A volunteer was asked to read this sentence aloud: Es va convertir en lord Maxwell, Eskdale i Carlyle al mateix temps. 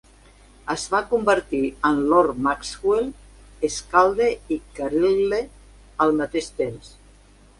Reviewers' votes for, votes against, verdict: 1, 2, rejected